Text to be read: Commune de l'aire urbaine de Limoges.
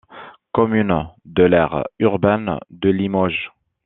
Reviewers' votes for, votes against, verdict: 2, 0, accepted